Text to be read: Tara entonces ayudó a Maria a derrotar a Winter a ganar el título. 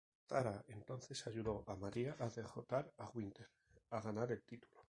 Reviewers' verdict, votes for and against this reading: rejected, 0, 2